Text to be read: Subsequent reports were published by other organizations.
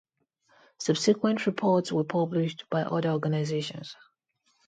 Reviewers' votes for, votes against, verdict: 2, 0, accepted